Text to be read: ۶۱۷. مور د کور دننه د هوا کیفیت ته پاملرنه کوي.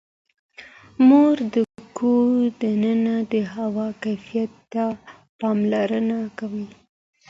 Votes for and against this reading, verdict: 0, 2, rejected